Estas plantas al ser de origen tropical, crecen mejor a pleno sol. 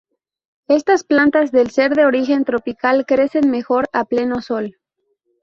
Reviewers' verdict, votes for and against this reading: rejected, 0, 4